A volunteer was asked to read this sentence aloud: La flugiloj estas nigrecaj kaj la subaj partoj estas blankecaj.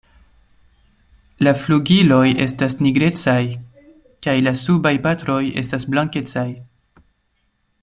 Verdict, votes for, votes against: rejected, 1, 2